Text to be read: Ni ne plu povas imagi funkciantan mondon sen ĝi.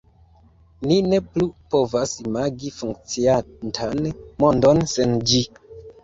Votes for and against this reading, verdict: 2, 0, accepted